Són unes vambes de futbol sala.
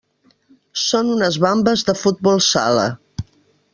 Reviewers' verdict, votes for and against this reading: accepted, 2, 1